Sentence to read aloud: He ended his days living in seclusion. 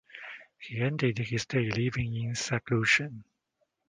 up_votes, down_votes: 1, 2